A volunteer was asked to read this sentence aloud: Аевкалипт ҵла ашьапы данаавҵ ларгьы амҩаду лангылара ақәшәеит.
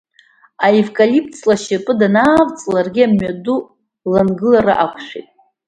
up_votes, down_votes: 2, 0